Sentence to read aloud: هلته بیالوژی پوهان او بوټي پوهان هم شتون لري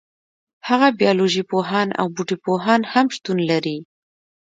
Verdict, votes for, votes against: rejected, 1, 2